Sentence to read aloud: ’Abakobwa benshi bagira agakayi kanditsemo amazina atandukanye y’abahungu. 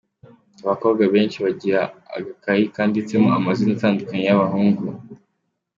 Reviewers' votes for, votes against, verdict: 2, 1, accepted